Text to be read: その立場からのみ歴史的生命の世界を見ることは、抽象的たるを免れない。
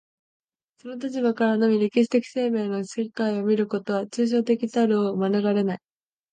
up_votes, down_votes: 2, 1